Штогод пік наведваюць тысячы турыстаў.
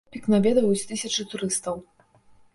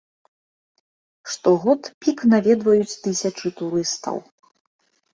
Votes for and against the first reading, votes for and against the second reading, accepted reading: 0, 2, 2, 0, second